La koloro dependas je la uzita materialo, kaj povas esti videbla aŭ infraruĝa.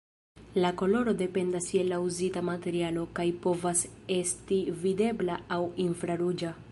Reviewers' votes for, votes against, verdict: 2, 0, accepted